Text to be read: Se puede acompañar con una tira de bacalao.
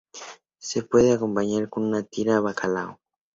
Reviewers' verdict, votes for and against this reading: rejected, 0, 2